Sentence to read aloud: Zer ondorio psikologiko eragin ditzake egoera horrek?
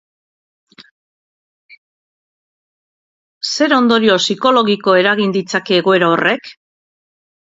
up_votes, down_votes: 2, 2